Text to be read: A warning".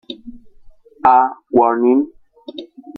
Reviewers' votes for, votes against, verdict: 2, 0, accepted